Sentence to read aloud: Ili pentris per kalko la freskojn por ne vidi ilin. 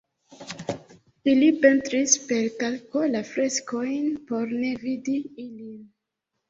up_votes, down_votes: 1, 2